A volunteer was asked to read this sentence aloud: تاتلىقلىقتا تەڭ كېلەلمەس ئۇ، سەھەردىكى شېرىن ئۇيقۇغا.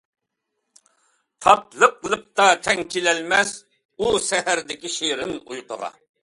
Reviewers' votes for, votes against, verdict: 2, 0, accepted